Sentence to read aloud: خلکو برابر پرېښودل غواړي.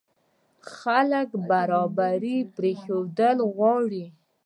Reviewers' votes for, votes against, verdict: 0, 2, rejected